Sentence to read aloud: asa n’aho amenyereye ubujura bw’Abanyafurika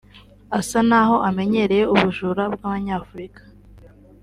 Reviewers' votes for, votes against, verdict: 2, 0, accepted